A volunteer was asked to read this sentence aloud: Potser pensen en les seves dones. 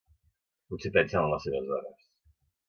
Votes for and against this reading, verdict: 2, 1, accepted